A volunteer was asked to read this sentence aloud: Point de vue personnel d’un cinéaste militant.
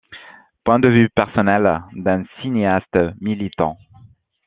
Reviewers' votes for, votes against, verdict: 2, 0, accepted